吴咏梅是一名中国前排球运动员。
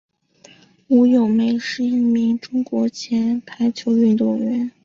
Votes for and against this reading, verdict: 2, 0, accepted